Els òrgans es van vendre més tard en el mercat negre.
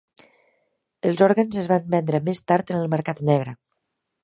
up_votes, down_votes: 5, 0